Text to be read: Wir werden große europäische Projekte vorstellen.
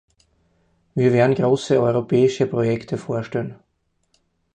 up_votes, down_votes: 4, 2